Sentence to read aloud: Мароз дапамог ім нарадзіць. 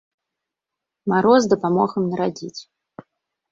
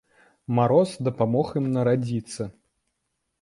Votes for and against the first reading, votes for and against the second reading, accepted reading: 2, 0, 1, 2, first